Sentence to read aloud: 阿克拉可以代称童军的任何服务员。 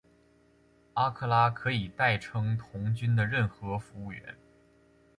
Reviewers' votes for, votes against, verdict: 2, 1, accepted